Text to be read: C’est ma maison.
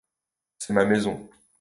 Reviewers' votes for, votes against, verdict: 2, 0, accepted